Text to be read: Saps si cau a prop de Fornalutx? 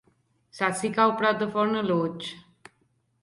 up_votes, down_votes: 2, 0